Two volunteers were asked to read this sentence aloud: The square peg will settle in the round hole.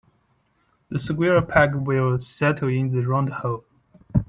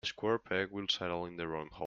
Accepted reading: first